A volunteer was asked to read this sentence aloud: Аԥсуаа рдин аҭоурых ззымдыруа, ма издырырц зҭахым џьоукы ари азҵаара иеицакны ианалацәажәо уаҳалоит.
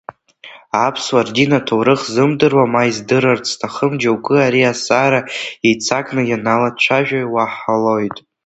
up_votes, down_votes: 1, 2